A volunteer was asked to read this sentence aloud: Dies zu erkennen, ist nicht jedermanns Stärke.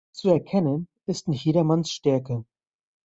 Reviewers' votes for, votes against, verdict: 0, 2, rejected